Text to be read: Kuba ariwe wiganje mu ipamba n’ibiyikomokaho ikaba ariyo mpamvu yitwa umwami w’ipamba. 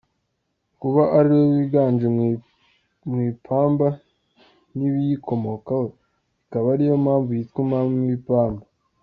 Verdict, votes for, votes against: accepted, 2, 1